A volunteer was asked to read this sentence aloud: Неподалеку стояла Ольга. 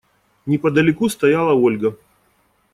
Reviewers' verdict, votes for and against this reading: rejected, 0, 2